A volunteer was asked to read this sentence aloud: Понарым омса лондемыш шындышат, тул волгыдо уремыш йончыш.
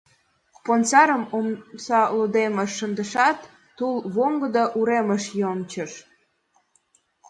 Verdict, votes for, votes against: accepted, 2, 0